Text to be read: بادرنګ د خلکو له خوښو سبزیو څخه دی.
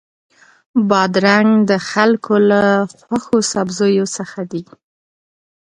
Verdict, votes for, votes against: accepted, 2, 0